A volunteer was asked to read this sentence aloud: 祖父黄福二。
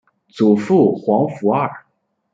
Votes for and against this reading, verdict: 2, 0, accepted